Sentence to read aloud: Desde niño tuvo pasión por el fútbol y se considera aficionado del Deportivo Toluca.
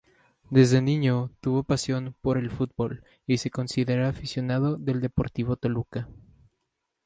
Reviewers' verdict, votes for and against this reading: accepted, 2, 0